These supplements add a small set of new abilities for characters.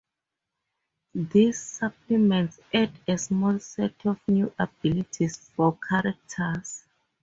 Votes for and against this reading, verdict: 4, 0, accepted